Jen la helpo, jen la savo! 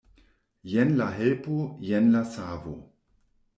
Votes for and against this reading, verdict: 2, 1, accepted